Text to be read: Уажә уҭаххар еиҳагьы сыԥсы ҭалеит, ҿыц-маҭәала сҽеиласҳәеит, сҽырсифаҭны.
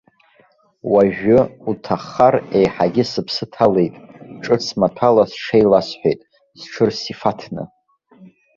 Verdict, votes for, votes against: rejected, 0, 2